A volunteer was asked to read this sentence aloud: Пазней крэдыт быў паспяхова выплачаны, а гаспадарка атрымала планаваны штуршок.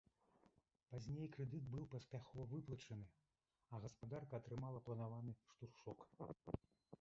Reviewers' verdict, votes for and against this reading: rejected, 1, 2